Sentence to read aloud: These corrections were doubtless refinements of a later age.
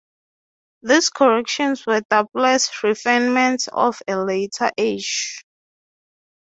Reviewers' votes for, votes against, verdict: 3, 3, rejected